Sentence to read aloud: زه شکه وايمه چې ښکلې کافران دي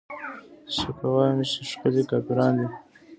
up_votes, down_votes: 2, 0